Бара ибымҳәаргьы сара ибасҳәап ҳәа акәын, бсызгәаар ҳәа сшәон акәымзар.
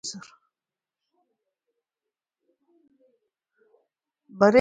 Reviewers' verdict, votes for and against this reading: rejected, 0, 2